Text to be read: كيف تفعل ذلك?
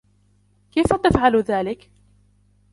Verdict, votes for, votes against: rejected, 0, 2